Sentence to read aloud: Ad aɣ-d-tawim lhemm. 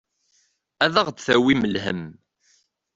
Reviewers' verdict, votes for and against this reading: accepted, 2, 0